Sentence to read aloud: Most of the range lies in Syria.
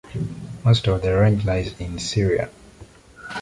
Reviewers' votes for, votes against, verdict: 2, 0, accepted